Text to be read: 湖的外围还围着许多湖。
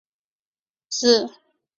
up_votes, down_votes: 0, 3